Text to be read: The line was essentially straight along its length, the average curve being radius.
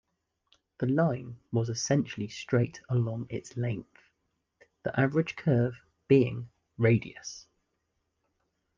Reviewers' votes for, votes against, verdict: 2, 0, accepted